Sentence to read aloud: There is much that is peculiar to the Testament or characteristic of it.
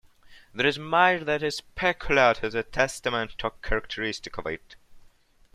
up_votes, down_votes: 1, 2